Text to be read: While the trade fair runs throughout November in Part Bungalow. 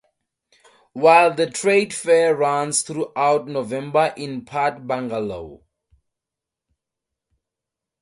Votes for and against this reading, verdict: 2, 0, accepted